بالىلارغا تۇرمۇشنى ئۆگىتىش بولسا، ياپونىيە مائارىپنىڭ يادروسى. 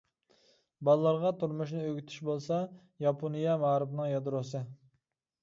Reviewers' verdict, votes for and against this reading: accepted, 2, 0